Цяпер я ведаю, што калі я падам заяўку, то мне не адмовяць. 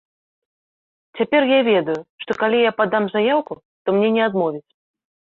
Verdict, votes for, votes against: accepted, 3, 0